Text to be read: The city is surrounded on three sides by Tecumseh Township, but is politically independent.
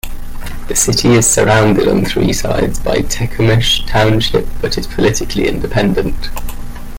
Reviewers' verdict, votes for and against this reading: accepted, 2, 1